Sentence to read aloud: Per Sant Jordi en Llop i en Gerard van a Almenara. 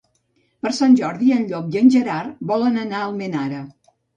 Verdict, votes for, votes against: rejected, 0, 2